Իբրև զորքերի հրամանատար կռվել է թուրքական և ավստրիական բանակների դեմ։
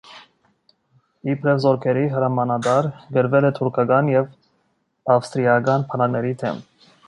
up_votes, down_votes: 1, 2